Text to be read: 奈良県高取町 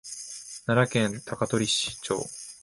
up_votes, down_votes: 0, 2